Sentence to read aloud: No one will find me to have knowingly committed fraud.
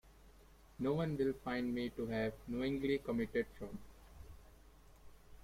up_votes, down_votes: 1, 2